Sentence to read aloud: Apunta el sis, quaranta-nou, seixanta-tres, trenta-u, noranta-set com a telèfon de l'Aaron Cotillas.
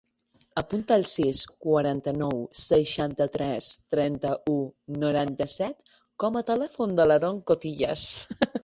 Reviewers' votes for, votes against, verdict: 2, 1, accepted